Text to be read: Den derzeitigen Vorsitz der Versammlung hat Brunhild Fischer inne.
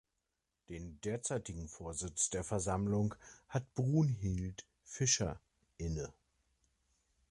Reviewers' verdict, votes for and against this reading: accepted, 2, 0